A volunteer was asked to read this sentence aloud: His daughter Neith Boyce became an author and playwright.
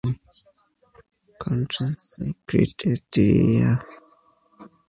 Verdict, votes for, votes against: rejected, 0, 2